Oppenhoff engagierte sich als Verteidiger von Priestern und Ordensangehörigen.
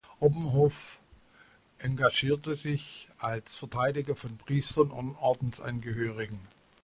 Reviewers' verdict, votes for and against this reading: rejected, 1, 2